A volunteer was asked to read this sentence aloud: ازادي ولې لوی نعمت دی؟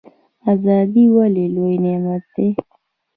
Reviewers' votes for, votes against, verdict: 1, 2, rejected